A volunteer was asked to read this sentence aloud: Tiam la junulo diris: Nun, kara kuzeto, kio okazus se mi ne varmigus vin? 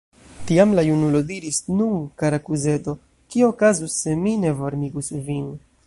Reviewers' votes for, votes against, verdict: 1, 2, rejected